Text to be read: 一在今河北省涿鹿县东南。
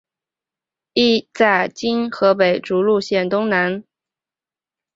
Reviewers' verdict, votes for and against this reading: accepted, 5, 1